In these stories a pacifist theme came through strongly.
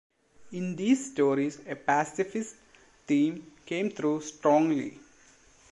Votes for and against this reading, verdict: 2, 0, accepted